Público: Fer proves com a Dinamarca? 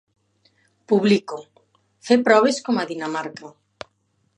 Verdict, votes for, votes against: rejected, 0, 2